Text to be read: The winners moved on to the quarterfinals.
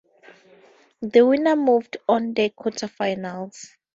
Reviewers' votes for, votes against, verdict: 4, 2, accepted